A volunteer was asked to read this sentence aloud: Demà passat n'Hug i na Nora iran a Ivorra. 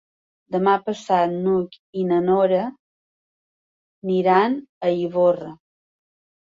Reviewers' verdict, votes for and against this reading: rejected, 1, 2